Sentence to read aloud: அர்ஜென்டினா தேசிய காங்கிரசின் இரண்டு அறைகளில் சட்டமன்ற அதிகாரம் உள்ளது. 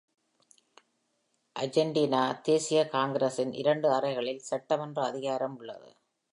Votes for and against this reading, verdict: 2, 1, accepted